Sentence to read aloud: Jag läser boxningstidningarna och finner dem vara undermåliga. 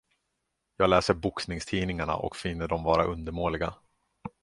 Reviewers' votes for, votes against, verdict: 2, 0, accepted